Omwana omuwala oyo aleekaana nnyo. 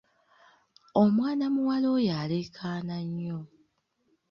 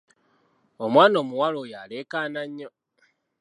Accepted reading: second